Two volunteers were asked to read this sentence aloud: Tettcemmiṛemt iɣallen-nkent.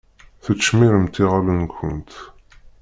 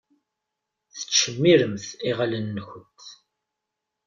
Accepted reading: second